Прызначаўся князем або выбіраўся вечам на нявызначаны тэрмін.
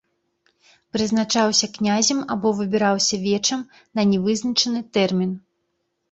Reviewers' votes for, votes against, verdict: 2, 0, accepted